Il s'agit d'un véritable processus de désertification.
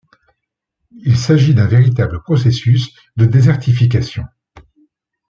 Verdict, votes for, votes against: accepted, 2, 0